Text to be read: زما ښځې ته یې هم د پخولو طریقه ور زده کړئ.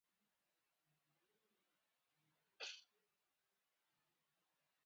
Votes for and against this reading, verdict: 0, 2, rejected